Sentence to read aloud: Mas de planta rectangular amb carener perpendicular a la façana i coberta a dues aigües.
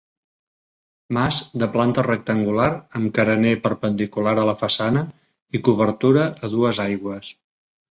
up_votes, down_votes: 0, 2